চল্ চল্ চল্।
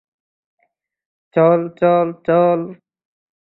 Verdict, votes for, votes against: accepted, 2, 0